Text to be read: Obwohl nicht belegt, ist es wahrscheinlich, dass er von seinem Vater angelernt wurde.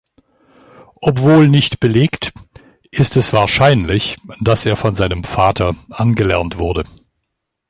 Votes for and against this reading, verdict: 2, 0, accepted